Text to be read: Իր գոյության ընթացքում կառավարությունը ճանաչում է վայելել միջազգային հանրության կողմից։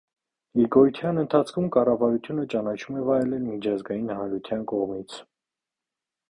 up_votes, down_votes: 2, 0